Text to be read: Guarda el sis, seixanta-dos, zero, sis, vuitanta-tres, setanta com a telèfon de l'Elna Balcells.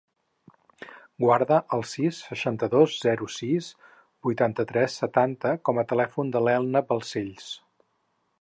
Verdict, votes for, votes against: accepted, 4, 0